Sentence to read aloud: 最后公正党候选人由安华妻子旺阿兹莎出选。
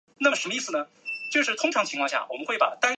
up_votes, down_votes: 0, 2